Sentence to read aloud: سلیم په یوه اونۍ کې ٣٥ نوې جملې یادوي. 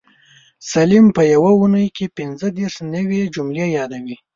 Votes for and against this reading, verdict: 0, 2, rejected